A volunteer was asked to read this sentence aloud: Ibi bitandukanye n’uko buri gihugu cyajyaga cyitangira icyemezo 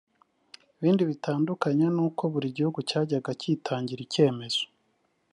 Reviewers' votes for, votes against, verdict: 1, 2, rejected